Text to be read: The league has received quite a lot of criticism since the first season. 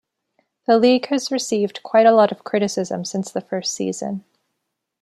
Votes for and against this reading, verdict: 2, 0, accepted